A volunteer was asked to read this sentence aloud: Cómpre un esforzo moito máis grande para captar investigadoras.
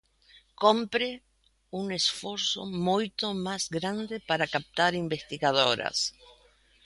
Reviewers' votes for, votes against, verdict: 0, 2, rejected